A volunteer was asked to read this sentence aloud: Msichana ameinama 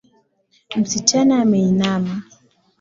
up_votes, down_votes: 2, 0